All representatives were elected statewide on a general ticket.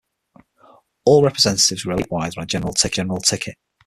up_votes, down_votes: 0, 6